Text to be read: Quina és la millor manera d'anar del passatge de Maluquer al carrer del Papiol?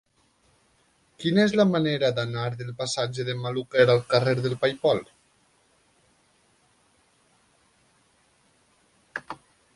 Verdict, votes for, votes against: rejected, 0, 2